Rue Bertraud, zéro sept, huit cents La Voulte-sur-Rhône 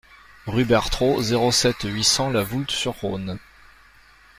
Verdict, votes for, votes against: accepted, 2, 0